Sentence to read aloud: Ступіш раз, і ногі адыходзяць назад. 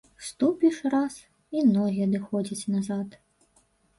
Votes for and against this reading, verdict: 2, 0, accepted